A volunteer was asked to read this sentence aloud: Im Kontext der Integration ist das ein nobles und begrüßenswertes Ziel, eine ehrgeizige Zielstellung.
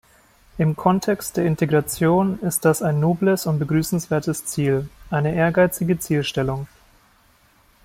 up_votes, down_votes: 2, 0